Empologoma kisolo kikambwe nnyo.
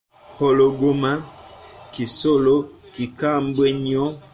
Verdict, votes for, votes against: rejected, 0, 2